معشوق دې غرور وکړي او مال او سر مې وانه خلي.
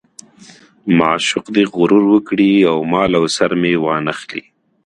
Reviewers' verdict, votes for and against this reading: accepted, 2, 0